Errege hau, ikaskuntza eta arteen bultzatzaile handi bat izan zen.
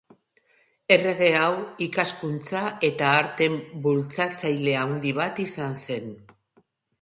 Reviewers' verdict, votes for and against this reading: rejected, 0, 2